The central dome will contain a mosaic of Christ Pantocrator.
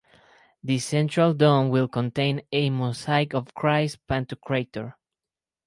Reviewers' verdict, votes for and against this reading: rejected, 2, 4